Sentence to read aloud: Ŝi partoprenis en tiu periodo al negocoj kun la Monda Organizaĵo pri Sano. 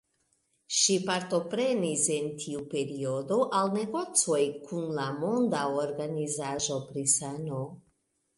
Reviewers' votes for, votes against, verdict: 1, 2, rejected